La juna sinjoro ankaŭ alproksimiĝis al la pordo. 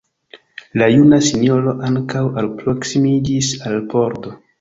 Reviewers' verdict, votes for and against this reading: rejected, 0, 2